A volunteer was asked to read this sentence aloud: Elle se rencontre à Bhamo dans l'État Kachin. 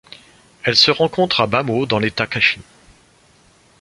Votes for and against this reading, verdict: 2, 1, accepted